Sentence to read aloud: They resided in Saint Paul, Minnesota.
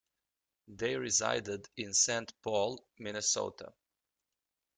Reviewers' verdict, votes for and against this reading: accepted, 2, 0